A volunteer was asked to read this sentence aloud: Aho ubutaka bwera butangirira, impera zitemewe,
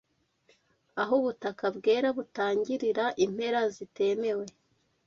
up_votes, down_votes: 2, 0